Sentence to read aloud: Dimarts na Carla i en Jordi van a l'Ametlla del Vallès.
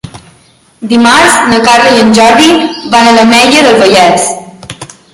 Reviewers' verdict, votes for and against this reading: accepted, 2, 0